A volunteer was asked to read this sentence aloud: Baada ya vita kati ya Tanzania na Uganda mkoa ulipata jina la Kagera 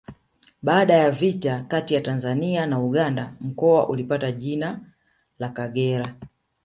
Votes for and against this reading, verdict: 2, 1, accepted